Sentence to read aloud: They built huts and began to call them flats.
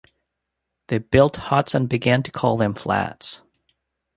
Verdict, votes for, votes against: accepted, 2, 0